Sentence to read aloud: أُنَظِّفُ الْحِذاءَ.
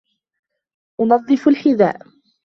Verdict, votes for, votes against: accepted, 2, 0